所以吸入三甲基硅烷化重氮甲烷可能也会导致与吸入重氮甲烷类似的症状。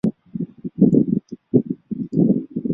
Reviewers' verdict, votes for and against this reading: rejected, 0, 3